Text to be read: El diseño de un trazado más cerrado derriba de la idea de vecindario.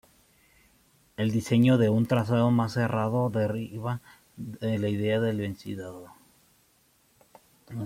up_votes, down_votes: 0, 2